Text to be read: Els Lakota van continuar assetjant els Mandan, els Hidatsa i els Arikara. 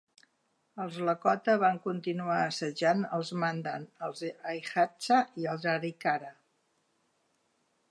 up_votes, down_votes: 0, 2